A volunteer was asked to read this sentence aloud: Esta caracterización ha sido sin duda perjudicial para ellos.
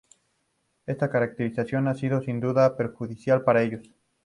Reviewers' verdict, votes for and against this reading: accepted, 2, 0